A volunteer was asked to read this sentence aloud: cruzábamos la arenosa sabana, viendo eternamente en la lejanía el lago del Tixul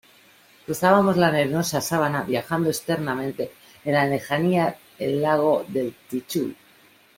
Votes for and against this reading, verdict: 0, 2, rejected